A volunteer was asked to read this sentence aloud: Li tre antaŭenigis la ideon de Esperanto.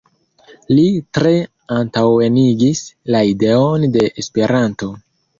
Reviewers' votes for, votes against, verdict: 3, 0, accepted